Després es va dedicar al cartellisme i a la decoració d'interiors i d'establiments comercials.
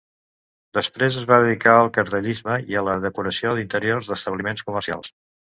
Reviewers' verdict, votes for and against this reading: rejected, 1, 2